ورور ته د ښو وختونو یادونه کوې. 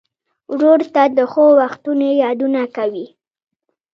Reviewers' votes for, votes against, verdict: 1, 2, rejected